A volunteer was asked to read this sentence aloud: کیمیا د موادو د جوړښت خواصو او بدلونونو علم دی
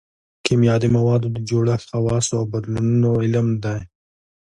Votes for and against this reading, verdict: 2, 0, accepted